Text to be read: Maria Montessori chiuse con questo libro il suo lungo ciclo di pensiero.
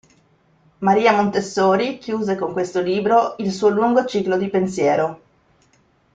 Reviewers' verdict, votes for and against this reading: accepted, 2, 1